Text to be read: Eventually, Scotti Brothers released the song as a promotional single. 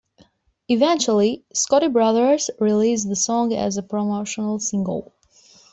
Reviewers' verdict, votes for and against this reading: accepted, 2, 0